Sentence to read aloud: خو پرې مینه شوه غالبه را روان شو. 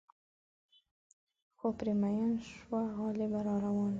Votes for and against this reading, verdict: 0, 2, rejected